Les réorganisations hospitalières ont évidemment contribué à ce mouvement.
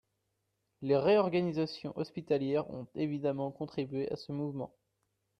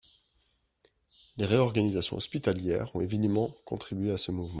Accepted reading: first